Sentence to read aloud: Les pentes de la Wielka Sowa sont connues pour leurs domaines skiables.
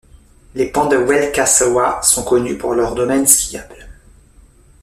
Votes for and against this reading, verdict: 1, 2, rejected